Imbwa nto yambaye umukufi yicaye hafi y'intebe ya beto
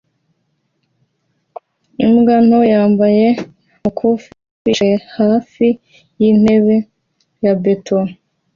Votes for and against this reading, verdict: 2, 0, accepted